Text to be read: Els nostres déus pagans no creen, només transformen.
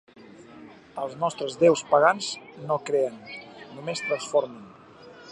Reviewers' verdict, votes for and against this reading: accepted, 3, 1